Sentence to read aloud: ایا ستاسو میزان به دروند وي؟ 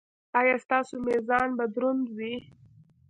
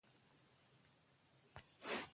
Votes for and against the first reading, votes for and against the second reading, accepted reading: 3, 0, 0, 2, first